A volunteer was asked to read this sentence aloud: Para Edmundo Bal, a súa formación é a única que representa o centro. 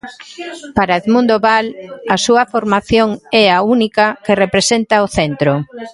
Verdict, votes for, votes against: rejected, 0, 2